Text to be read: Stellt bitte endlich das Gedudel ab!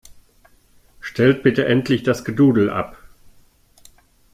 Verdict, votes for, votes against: accepted, 2, 0